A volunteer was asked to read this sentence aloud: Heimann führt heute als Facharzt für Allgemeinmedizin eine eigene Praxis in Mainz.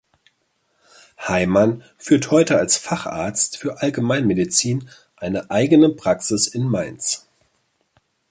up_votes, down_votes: 2, 0